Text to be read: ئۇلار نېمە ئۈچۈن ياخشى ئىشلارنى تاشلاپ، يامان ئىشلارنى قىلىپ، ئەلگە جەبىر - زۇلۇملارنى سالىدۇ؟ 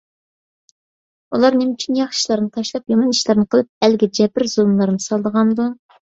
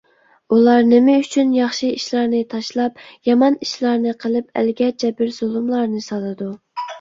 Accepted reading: second